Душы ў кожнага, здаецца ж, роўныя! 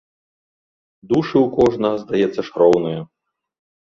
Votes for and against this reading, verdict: 2, 0, accepted